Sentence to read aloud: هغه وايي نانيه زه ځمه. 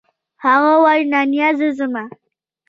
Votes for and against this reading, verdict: 1, 2, rejected